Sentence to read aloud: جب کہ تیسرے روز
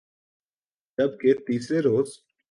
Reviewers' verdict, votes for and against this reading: accepted, 2, 0